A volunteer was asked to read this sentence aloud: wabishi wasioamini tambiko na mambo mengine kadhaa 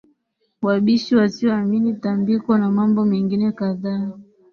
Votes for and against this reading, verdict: 7, 1, accepted